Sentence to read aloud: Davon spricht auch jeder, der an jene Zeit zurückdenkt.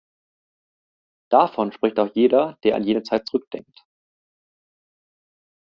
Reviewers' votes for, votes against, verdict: 2, 0, accepted